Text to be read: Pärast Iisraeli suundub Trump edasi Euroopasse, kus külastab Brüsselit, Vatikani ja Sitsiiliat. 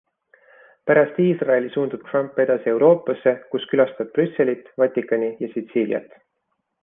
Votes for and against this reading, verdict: 2, 0, accepted